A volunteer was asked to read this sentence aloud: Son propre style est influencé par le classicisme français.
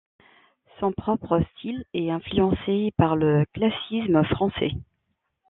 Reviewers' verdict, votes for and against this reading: rejected, 1, 2